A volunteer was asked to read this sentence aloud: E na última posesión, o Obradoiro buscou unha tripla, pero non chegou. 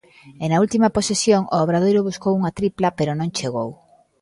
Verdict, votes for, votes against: accepted, 2, 0